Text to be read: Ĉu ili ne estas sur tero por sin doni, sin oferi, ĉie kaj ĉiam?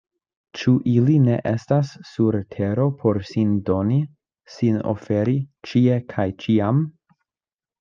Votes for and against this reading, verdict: 2, 0, accepted